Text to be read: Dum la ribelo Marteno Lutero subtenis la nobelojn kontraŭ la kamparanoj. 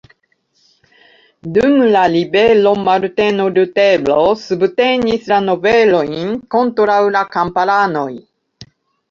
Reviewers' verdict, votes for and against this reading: accepted, 2, 1